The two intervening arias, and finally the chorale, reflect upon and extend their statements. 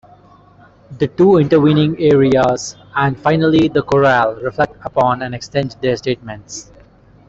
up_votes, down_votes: 0, 2